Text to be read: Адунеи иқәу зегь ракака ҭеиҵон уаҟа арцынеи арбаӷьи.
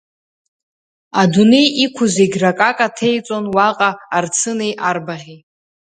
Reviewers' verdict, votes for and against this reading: rejected, 1, 2